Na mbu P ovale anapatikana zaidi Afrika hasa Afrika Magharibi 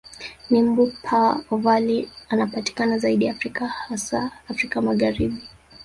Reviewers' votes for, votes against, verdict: 0, 2, rejected